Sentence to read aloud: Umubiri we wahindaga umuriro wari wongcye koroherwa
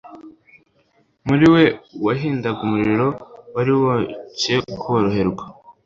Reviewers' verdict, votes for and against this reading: rejected, 1, 2